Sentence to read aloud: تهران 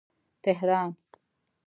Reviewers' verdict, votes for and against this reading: accepted, 2, 0